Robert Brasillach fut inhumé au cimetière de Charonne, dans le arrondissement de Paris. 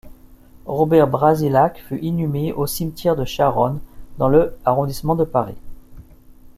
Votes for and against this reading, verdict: 2, 0, accepted